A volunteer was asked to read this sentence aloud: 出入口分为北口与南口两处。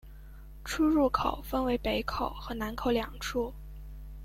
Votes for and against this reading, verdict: 0, 2, rejected